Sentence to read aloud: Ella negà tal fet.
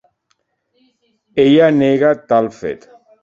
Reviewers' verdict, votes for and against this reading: accepted, 2, 0